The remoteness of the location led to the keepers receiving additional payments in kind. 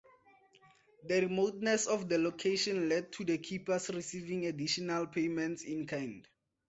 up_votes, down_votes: 4, 2